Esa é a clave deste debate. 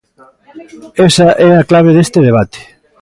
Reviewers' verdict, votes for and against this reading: rejected, 1, 2